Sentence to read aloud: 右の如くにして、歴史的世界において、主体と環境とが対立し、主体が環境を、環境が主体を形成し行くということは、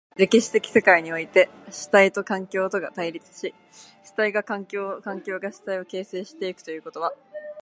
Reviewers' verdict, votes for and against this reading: rejected, 1, 4